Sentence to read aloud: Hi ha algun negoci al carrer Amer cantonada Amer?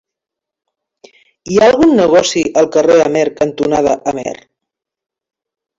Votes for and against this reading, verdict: 2, 0, accepted